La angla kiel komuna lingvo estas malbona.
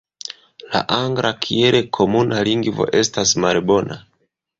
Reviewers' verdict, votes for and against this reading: rejected, 0, 2